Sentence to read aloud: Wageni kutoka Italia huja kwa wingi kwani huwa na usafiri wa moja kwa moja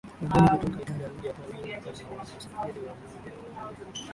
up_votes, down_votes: 1, 15